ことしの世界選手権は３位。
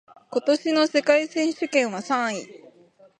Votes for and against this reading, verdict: 0, 2, rejected